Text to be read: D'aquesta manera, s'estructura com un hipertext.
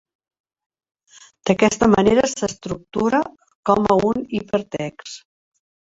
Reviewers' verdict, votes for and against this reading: rejected, 0, 2